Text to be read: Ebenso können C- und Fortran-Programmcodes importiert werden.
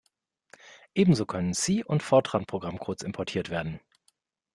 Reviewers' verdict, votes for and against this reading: accepted, 2, 0